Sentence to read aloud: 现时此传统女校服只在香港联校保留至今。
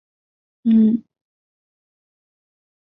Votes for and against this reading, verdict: 0, 2, rejected